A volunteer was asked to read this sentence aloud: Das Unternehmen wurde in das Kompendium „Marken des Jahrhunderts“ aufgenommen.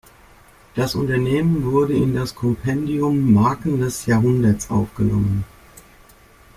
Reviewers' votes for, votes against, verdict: 2, 0, accepted